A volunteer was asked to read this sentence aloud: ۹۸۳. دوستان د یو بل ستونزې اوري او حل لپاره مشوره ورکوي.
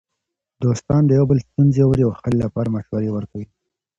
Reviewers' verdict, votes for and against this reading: rejected, 0, 2